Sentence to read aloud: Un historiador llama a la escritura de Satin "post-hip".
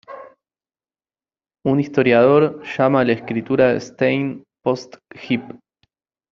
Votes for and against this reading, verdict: 0, 2, rejected